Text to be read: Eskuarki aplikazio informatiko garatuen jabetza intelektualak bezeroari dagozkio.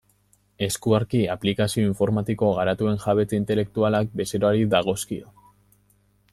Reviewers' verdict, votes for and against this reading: accepted, 2, 0